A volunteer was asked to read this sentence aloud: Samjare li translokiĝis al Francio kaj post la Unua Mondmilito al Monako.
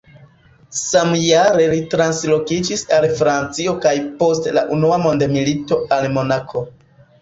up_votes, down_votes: 1, 2